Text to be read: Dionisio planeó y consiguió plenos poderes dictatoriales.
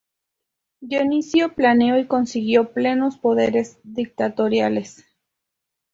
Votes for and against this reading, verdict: 4, 0, accepted